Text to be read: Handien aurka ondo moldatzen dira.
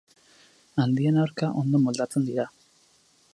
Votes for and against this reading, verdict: 6, 0, accepted